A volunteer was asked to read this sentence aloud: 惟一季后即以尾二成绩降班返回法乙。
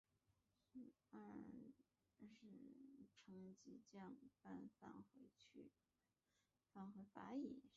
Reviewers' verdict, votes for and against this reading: accepted, 5, 1